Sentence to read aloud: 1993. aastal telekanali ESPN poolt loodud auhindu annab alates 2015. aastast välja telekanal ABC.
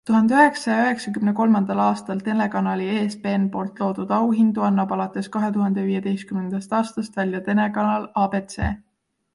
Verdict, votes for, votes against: rejected, 0, 2